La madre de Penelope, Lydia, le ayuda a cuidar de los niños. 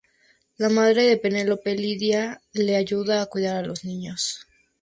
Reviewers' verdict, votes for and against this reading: accepted, 2, 0